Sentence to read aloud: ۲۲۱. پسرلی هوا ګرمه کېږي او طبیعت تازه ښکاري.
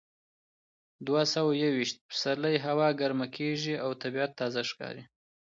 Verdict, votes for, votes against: rejected, 0, 2